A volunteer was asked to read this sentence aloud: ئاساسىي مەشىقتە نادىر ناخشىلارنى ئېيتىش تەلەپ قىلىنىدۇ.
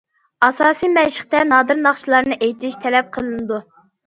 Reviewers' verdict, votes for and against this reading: accepted, 2, 0